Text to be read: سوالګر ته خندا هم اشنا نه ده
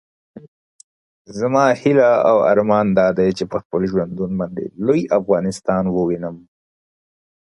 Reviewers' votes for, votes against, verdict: 0, 2, rejected